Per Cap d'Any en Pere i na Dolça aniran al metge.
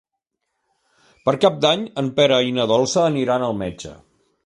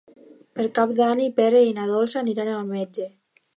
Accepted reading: first